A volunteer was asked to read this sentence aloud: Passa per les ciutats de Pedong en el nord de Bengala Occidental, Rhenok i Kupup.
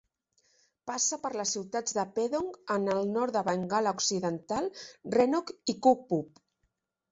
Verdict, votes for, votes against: accepted, 2, 0